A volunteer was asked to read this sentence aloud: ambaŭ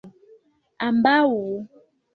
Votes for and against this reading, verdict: 1, 2, rejected